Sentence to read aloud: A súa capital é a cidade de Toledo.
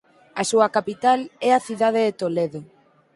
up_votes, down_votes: 4, 0